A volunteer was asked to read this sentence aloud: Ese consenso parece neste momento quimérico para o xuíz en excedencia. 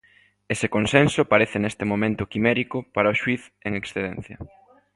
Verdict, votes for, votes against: accepted, 2, 1